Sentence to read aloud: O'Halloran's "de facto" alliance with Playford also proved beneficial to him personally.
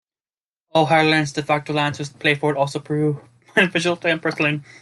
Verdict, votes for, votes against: rejected, 1, 2